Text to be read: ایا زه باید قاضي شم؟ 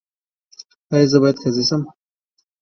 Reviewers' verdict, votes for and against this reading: accepted, 2, 0